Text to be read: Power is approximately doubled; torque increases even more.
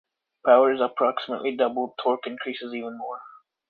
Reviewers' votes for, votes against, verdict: 2, 0, accepted